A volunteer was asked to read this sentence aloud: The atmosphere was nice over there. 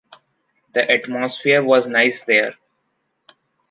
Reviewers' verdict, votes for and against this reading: rejected, 1, 2